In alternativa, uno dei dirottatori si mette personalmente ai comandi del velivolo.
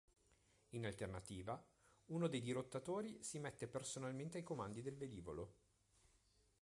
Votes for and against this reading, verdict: 2, 0, accepted